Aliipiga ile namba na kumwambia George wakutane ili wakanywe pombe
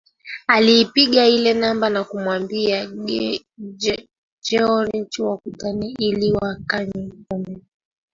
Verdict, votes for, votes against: rejected, 0, 2